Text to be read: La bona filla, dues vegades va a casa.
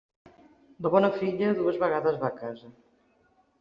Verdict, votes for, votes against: accepted, 3, 0